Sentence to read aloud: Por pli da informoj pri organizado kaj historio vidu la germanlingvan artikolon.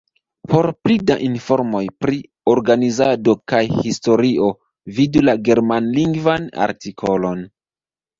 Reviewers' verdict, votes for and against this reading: rejected, 1, 2